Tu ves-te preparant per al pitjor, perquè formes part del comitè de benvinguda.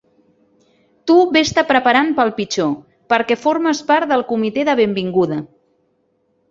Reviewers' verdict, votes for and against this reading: rejected, 1, 2